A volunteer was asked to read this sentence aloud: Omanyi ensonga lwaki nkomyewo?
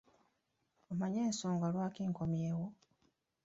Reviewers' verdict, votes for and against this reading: accepted, 2, 0